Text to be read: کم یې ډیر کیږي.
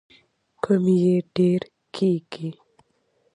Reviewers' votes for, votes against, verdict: 2, 0, accepted